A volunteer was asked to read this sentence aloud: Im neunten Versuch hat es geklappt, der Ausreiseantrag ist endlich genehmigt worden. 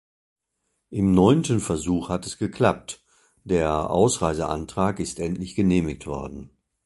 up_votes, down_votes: 3, 0